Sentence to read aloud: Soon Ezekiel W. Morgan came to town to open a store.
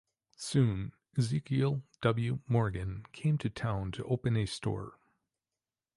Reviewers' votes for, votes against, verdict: 2, 0, accepted